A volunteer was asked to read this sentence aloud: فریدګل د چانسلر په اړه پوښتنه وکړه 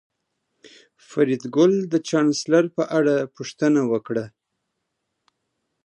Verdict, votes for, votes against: accepted, 2, 0